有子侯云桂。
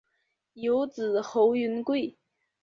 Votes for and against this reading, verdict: 4, 0, accepted